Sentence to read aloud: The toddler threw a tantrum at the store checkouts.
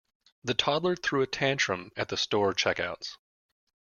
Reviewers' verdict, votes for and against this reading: accepted, 2, 0